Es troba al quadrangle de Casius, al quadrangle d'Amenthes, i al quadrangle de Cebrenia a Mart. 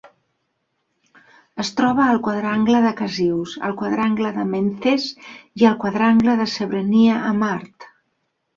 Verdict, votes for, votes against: accepted, 2, 0